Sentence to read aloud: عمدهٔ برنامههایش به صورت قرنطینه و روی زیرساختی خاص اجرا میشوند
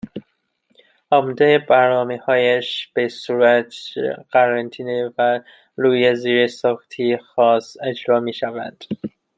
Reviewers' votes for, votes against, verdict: 0, 2, rejected